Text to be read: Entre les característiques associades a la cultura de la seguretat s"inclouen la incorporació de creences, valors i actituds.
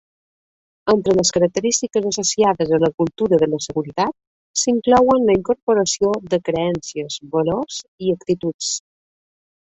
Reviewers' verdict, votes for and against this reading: rejected, 1, 2